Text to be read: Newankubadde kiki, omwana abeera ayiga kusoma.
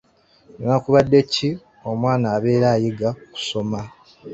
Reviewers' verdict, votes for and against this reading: accepted, 2, 1